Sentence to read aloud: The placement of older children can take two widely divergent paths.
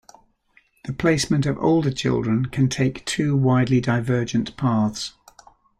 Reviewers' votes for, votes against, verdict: 2, 0, accepted